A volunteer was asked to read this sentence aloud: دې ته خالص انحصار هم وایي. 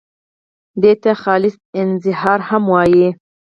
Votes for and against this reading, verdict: 0, 4, rejected